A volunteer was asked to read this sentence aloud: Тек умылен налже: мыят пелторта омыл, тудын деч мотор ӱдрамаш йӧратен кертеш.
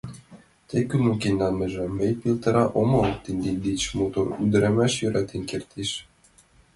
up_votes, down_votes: 0, 2